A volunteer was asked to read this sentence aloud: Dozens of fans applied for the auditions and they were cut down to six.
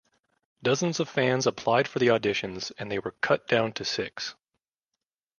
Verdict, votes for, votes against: accepted, 2, 0